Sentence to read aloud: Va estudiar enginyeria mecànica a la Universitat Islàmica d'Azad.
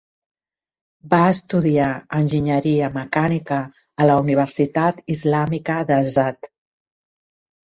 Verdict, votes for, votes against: accepted, 2, 0